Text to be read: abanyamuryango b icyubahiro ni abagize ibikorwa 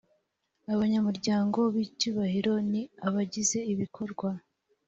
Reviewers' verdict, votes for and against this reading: accepted, 2, 0